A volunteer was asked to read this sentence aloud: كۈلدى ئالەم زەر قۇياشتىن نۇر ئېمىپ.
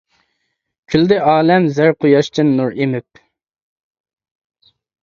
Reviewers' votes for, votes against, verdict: 2, 1, accepted